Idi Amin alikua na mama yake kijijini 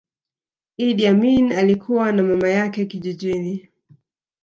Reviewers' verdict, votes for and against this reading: rejected, 1, 2